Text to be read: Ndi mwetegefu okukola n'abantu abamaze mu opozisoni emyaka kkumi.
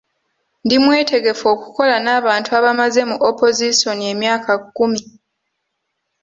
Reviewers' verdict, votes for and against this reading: accepted, 2, 1